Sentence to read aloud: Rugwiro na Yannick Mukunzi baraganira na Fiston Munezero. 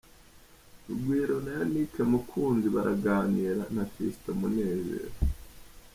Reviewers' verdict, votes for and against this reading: accepted, 2, 0